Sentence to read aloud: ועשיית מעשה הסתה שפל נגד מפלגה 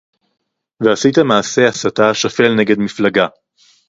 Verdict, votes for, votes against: rejected, 2, 2